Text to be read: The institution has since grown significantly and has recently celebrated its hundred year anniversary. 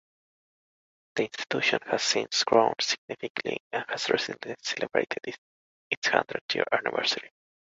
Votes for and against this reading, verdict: 0, 2, rejected